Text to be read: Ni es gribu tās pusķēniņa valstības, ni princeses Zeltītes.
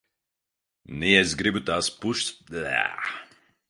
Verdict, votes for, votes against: rejected, 0, 2